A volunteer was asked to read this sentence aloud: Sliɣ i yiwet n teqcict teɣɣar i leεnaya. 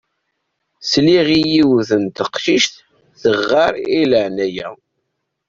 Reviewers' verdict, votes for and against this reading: rejected, 0, 2